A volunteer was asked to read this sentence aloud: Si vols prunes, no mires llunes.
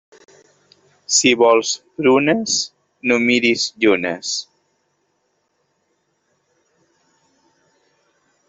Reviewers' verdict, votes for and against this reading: rejected, 1, 2